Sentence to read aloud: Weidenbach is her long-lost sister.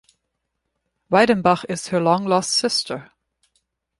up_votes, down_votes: 2, 0